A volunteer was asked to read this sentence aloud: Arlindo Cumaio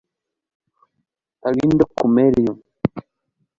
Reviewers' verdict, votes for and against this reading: rejected, 1, 2